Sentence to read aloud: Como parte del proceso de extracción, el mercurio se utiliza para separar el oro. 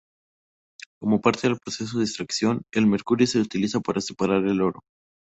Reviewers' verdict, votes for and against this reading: accepted, 2, 0